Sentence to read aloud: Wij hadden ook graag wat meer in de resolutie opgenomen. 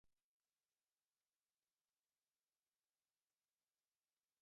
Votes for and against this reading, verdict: 0, 2, rejected